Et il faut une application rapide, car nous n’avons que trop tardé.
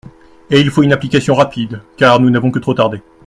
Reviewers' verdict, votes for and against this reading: accepted, 2, 0